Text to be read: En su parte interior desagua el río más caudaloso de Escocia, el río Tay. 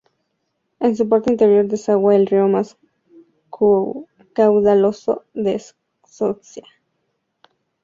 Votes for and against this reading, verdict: 0, 2, rejected